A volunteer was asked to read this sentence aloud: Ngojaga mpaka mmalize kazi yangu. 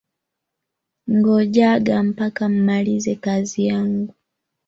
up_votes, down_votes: 3, 0